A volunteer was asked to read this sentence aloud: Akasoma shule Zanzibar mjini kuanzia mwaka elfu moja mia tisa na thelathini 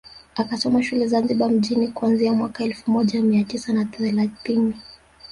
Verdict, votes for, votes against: accepted, 2, 0